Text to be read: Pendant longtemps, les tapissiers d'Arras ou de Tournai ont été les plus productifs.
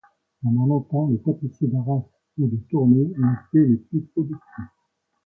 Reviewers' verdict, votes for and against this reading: accepted, 2, 0